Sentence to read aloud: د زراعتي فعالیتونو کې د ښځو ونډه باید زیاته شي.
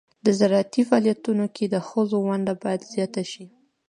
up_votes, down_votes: 1, 2